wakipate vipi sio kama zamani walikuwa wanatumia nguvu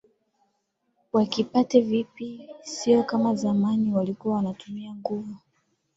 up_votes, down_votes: 3, 0